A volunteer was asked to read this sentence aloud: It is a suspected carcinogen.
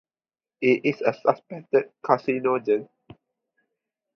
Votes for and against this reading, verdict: 0, 4, rejected